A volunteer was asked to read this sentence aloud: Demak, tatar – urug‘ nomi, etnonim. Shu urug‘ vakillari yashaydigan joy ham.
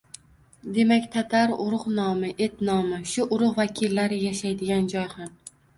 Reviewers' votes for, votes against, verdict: 1, 2, rejected